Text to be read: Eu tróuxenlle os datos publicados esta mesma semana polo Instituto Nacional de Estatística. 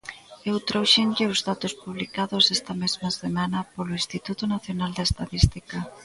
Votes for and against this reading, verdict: 1, 2, rejected